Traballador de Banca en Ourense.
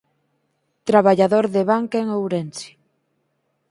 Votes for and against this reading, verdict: 4, 0, accepted